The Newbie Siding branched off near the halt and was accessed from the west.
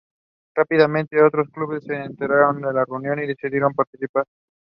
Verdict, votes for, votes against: rejected, 0, 2